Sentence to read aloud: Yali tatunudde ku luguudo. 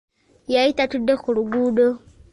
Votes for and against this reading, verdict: 2, 1, accepted